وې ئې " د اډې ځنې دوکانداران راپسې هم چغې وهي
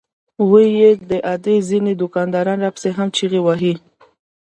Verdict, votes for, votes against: rejected, 1, 2